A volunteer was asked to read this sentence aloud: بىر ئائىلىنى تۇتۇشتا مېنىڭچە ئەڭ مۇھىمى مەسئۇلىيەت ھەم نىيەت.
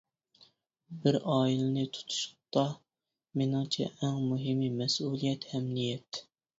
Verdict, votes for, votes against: accepted, 2, 1